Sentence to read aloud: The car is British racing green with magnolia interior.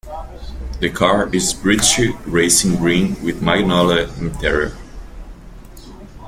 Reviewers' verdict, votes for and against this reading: accepted, 2, 1